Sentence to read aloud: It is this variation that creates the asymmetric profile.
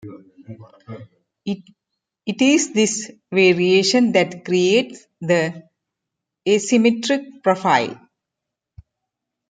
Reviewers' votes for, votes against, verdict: 0, 2, rejected